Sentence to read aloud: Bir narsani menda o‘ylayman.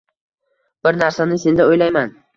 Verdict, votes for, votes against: accepted, 2, 0